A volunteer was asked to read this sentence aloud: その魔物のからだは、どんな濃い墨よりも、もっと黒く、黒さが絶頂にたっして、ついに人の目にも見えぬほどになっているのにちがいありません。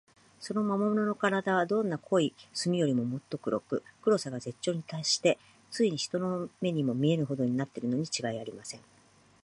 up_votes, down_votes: 2, 0